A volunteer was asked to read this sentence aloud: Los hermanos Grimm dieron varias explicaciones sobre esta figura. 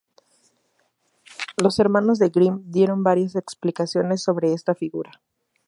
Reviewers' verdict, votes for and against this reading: rejected, 2, 2